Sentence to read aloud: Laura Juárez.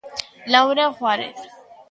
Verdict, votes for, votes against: accepted, 2, 0